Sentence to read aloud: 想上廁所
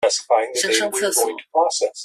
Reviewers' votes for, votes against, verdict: 0, 2, rejected